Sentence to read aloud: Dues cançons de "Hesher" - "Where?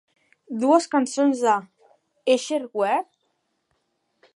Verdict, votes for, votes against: accepted, 2, 1